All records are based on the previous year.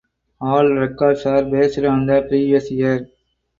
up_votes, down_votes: 6, 0